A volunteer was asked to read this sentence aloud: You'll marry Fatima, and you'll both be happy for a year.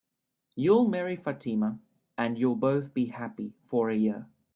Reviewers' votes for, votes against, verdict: 2, 0, accepted